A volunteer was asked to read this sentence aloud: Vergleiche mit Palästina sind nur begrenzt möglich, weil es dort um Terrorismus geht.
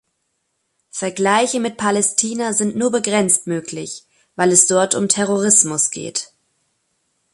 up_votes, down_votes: 2, 0